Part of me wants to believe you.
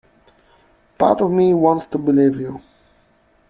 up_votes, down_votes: 2, 0